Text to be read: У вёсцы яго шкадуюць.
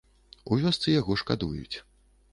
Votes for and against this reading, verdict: 2, 0, accepted